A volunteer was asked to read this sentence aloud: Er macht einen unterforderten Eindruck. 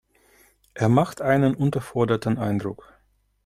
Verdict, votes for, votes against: accepted, 2, 0